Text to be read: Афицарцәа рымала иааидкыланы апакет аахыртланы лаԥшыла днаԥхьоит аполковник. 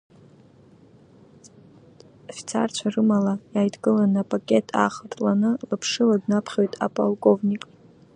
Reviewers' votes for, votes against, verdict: 2, 0, accepted